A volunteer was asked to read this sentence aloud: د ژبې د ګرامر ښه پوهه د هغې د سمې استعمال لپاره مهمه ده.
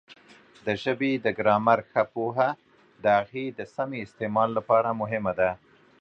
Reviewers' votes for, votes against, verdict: 2, 0, accepted